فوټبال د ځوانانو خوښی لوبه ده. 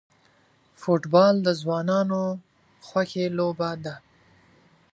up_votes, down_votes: 2, 0